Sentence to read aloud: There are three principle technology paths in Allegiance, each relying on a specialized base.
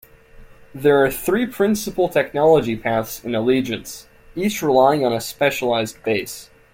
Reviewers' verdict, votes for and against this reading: accepted, 2, 0